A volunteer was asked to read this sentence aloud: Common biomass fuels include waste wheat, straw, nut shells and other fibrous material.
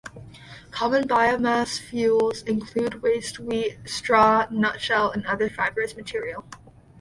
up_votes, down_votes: 1, 2